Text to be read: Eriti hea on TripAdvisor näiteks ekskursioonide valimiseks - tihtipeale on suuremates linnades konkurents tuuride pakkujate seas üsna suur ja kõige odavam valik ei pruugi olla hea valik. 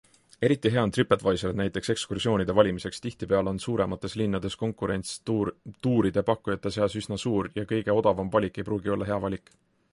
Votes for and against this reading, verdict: 2, 1, accepted